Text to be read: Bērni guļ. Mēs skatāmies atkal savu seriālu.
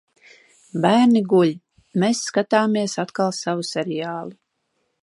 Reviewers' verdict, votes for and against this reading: accepted, 2, 0